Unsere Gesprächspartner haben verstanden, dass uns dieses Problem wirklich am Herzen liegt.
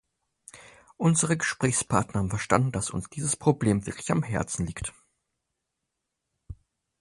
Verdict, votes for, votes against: accepted, 4, 0